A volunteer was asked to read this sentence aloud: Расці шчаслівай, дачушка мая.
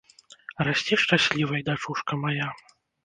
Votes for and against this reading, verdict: 2, 0, accepted